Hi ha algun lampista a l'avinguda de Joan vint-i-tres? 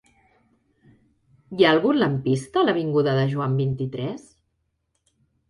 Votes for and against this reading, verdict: 3, 0, accepted